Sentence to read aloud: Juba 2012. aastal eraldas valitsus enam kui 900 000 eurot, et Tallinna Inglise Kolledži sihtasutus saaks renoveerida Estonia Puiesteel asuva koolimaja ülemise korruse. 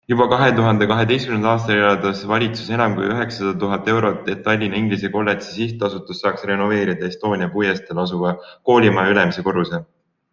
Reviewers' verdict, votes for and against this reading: rejected, 0, 2